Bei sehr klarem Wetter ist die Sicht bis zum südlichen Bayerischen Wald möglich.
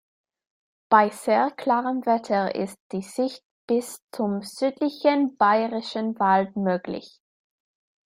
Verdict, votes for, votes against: accepted, 2, 0